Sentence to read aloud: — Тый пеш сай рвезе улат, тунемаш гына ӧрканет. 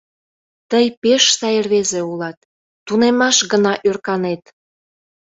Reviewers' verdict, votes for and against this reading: accepted, 2, 0